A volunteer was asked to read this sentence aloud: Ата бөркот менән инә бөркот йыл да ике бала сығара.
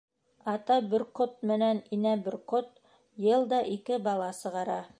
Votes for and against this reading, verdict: 0, 2, rejected